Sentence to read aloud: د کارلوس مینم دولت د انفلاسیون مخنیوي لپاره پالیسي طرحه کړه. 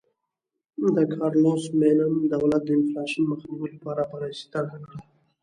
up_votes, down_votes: 2, 0